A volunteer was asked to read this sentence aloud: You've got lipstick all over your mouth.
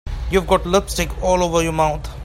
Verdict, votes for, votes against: accepted, 3, 0